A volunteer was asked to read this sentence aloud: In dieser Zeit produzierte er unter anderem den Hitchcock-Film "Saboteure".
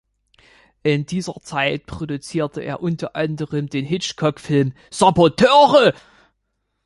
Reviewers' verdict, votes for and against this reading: accepted, 2, 1